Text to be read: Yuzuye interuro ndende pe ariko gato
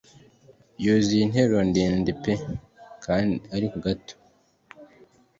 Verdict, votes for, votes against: rejected, 0, 2